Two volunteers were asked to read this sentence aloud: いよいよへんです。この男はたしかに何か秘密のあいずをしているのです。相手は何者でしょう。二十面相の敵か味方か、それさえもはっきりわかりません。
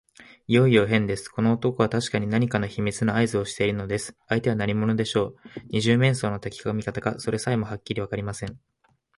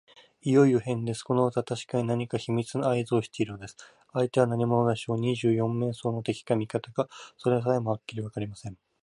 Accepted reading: first